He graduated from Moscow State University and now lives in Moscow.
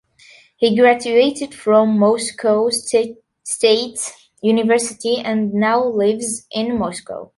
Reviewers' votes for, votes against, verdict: 0, 2, rejected